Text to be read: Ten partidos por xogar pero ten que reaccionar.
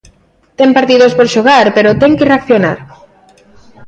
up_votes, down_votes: 2, 0